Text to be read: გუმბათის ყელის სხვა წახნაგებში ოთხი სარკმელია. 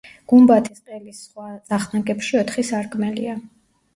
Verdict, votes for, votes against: rejected, 1, 2